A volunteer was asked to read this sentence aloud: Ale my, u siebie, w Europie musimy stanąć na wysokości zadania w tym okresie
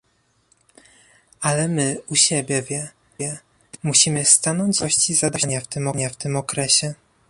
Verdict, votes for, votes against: rejected, 1, 2